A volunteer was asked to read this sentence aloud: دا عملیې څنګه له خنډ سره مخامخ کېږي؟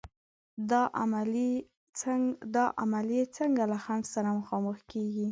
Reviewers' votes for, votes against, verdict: 2, 1, accepted